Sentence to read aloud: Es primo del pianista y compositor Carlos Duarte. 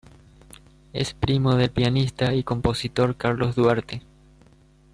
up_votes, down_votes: 2, 0